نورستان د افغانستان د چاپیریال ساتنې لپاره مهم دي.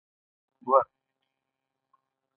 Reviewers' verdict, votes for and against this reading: rejected, 1, 2